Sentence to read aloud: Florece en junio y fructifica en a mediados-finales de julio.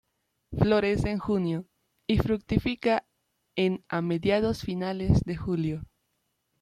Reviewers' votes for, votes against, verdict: 0, 2, rejected